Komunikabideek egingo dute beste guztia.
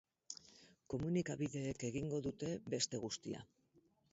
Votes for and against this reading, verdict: 4, 0, accepted